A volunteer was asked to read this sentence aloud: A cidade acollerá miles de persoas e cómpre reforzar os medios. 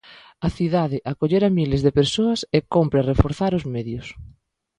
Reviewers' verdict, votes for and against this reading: rejected, 0, 2